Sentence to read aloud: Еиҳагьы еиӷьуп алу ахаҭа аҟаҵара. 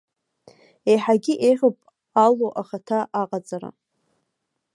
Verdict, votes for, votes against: rejected, 1, 2